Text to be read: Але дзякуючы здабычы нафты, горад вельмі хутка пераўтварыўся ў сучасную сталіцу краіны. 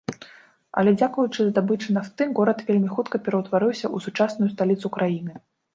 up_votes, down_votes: 1, 2